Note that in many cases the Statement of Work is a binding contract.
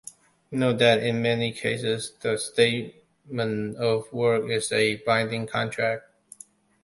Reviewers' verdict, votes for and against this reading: rejected, 0, 2